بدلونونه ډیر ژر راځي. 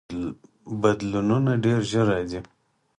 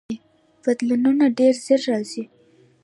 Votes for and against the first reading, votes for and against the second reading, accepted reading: 4, 0, 1, 2, first